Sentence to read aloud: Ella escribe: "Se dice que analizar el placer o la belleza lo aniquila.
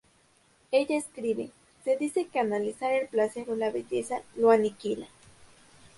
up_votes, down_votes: 0, 2